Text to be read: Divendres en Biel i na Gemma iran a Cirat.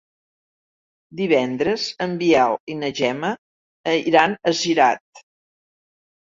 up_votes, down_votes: 0, 2